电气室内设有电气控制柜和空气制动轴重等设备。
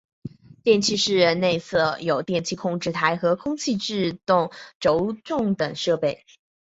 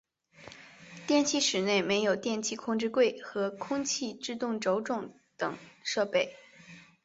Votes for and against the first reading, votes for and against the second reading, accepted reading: 3, 0, 1, 2, first